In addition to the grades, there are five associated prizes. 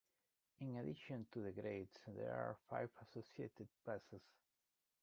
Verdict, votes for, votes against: rejected, 0, 2